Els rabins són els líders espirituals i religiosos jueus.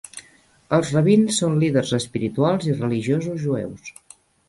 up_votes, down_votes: 0, 2